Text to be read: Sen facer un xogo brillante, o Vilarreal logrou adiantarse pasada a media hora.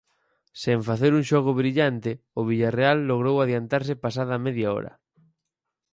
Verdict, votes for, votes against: rejected, 2, 4